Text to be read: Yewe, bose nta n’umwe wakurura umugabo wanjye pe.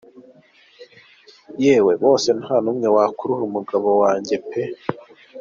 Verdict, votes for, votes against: accepted, 4, 1